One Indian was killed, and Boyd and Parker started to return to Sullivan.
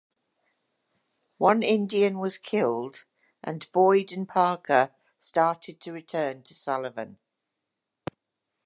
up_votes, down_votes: 2, 0